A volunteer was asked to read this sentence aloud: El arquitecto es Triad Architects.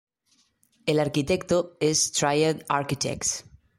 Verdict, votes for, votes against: rejected, 1, 2